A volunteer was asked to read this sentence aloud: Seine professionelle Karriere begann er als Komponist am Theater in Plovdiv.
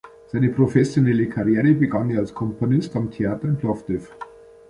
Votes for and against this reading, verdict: 0, 2, rejected